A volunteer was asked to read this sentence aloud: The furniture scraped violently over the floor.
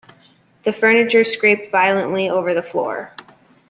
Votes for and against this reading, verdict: 2, 0, accepted